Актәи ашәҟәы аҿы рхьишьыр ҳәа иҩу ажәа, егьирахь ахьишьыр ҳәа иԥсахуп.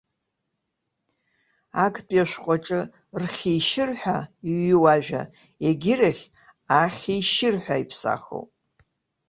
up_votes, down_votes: 1, 2